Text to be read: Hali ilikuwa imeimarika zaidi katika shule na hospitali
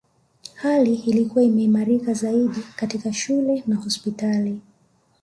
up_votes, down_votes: 5, 0